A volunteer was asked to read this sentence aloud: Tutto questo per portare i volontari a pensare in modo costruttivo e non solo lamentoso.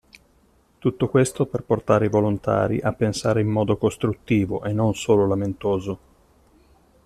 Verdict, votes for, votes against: accepted, 2, 0